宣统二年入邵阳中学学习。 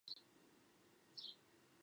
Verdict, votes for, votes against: rejected, 0, 2